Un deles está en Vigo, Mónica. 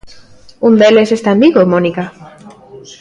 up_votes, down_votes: 1, 2